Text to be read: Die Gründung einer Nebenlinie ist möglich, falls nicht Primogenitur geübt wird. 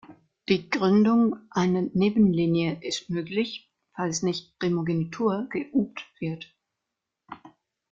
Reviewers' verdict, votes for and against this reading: rejected, 1, 2